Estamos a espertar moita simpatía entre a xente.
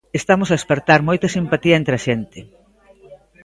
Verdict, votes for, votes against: accepted, 2, 0